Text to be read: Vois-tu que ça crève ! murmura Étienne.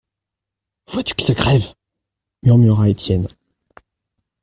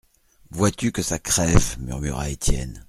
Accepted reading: second